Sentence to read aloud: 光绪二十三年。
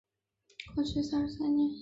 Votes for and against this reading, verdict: 0, 2, rejected